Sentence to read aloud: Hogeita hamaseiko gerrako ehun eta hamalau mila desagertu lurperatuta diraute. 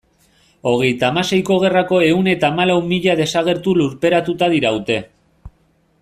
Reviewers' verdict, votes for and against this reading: accepted, 2, 0